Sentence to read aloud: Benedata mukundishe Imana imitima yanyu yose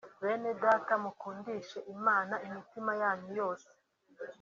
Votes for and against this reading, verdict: 3, 0, accepted